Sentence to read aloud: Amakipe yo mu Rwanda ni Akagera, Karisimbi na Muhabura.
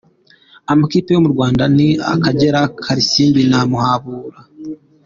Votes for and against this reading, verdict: 2, 0, accepted